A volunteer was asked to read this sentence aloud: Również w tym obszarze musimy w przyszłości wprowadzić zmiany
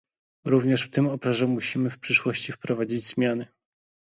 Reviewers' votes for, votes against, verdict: 0, 2, rejected